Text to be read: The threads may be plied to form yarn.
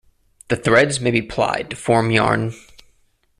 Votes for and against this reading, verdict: 2, 0, accepted